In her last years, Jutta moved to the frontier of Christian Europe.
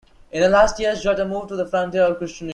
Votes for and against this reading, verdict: 0, 2, rejected